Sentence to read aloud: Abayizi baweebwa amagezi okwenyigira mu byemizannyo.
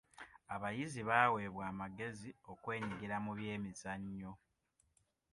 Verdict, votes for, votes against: accepted, 2, 0